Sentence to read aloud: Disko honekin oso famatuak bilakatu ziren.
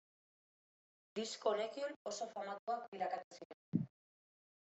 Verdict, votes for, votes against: accepted, 2, 0